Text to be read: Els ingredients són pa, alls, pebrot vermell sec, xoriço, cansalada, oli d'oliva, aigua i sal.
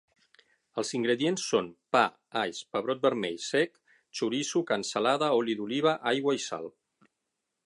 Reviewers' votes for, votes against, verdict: 9, 0, accepted